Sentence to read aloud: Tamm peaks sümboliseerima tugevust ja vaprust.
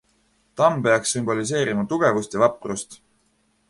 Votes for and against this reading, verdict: 2, 0, accepted